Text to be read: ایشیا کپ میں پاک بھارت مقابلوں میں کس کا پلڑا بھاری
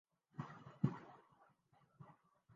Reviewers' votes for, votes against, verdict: 0, 3, rejected